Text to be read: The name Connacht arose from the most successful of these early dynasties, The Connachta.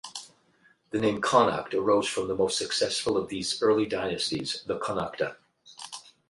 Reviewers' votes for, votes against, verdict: 4, 4, rejected